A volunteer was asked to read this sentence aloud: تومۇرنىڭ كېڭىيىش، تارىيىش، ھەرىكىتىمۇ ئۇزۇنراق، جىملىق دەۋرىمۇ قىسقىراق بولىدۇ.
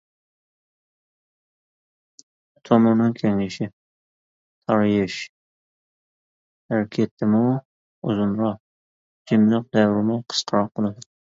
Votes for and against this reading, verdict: 1, 2, rejected